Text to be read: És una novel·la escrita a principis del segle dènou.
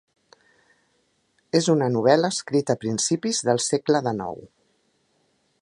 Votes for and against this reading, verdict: 0, 2, rejected